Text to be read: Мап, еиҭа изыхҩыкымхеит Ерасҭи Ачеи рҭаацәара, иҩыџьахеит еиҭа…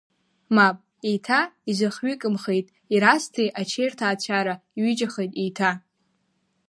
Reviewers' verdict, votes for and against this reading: accepted, 2, 0